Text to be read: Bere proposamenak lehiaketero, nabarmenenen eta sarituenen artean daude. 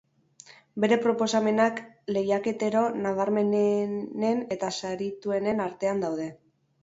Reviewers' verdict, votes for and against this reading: rejected, 0, 2